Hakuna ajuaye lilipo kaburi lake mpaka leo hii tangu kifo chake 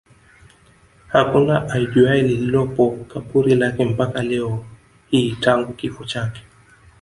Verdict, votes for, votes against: accepted, 2, 0